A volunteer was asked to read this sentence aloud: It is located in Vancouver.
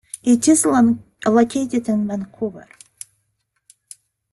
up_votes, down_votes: 2, 1